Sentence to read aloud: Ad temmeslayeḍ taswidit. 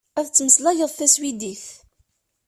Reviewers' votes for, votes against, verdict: 1, 2, rejected